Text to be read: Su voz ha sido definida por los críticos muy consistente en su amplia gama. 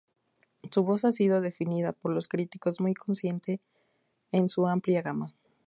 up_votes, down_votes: 0, 2